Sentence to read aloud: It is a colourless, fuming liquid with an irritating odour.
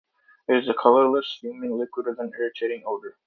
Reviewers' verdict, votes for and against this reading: accepted, 2, 0